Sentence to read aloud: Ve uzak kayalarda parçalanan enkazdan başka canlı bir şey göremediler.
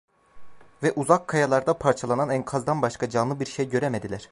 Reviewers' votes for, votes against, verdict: 2, 0, accepted